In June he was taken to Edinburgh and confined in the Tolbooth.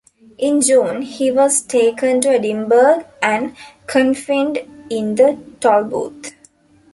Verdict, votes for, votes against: accepted, 2, 0